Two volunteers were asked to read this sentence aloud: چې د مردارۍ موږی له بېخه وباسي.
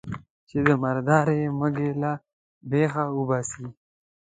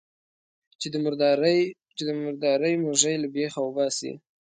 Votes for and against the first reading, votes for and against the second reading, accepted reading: 0, 2, 2, 0, second